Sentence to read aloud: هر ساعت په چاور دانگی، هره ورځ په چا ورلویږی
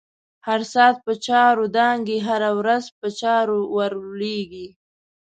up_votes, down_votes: 1, 2